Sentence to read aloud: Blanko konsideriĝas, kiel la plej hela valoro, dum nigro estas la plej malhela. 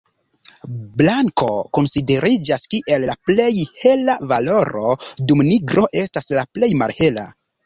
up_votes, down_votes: 1, 2